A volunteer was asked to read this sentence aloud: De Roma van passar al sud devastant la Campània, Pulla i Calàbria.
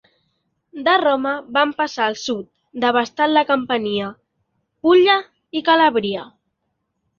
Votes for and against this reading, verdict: 0, 2, rejected